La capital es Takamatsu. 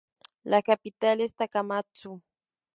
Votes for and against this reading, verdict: 4, 0, accepted